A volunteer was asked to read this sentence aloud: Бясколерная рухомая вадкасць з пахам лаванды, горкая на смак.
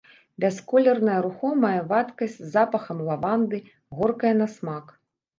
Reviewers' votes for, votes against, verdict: 0, 2, rejected